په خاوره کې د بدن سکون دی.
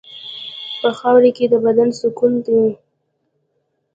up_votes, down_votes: 3, 0